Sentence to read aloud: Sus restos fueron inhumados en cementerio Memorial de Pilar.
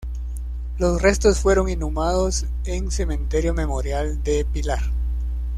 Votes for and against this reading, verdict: 1, 2, rejected